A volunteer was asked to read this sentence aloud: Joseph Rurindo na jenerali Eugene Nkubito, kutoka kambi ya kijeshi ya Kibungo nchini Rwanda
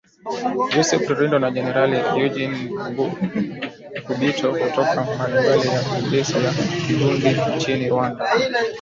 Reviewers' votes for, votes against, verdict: 1, 6, rejected